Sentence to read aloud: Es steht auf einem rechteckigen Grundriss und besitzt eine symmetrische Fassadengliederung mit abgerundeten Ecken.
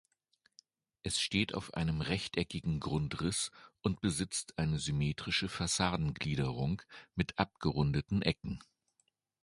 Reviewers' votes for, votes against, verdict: 2, 0, accepted